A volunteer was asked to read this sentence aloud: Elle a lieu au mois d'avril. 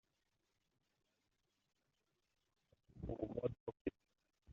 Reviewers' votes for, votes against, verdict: 0, 2, rejected